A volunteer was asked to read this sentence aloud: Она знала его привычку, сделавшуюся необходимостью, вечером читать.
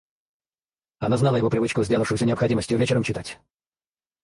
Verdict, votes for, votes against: rejected, 2, 2